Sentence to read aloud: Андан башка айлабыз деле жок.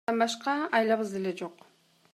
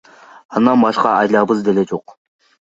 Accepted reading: second